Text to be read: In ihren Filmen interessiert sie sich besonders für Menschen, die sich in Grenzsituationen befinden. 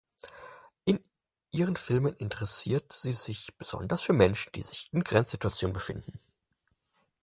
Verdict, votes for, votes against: accepted, 4, 0